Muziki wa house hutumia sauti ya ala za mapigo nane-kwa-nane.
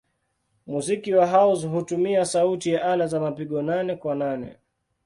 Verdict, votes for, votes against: accepted, 2, 0